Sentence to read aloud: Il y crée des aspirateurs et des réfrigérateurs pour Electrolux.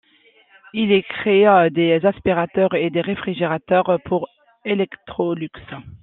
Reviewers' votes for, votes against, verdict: 0, 2, rejected